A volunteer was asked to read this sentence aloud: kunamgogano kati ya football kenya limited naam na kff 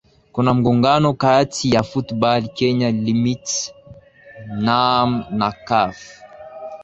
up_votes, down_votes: 0, 2